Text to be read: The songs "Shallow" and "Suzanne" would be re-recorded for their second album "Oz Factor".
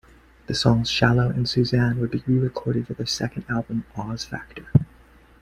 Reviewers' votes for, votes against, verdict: 2, 0, accepted